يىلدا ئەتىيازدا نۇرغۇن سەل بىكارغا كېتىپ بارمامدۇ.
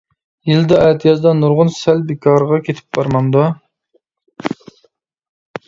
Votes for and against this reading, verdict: 2, 0, accepted